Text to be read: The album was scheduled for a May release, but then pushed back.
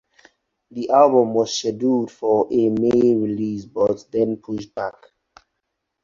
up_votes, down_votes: 2, 4